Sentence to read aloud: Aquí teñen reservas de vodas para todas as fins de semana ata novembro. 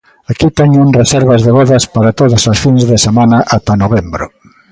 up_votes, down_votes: 1, 2